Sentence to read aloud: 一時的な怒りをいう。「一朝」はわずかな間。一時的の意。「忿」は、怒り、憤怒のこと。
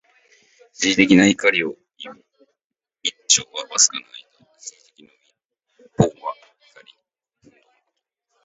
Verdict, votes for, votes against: accepted, 2, 1